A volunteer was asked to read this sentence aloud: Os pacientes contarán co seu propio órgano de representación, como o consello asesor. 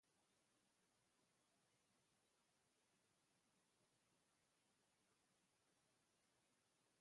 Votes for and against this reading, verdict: 0, 3, rejected